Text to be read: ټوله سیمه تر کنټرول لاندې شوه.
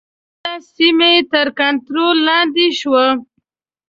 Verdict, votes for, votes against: rejected, 0, 2